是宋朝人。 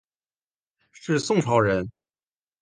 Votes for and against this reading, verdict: 4, 0, accepted